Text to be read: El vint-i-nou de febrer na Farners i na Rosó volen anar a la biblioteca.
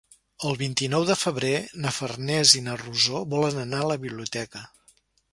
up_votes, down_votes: 4, 0